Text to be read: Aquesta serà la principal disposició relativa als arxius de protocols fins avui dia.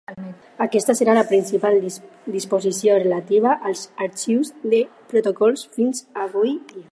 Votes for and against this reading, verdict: 0, 4, rejected